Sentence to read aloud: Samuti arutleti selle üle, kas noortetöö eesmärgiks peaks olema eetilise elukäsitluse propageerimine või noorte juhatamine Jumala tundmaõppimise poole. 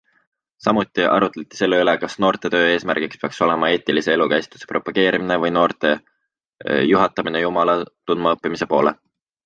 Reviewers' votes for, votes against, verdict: 2, 1, accepted